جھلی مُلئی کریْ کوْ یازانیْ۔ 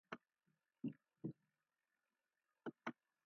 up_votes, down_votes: 0, 2